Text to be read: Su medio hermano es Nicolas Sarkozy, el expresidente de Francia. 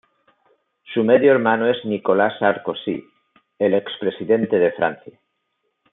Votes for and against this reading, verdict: 0, 2, rejected